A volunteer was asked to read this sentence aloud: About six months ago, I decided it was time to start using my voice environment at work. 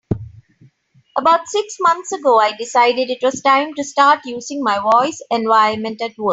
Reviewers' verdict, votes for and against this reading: accepted, 3, 2